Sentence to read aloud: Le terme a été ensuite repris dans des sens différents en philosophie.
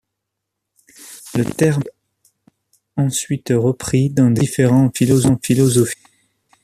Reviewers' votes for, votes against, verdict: 0, 2, rejected